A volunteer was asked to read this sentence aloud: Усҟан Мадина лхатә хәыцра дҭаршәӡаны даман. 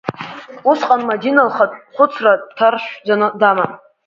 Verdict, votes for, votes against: accepted, 2, 1